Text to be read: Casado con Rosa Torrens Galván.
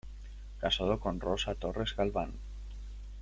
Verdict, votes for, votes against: rejected, 1, 2